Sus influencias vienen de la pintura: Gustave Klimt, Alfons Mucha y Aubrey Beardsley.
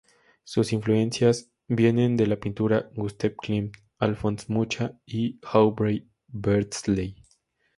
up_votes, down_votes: 2, 0